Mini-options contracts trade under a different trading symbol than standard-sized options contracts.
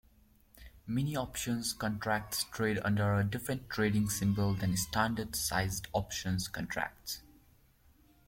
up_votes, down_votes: 2, 0